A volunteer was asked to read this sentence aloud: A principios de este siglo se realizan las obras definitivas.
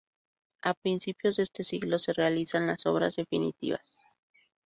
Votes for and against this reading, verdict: 0, 2, rejected